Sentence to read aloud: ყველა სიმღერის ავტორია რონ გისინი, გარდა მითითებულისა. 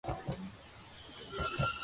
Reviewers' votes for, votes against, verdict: 1, 2, rejected